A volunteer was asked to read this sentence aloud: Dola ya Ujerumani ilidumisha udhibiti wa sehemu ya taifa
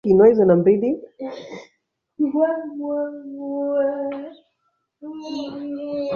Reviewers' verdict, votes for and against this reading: rejected, 1, 2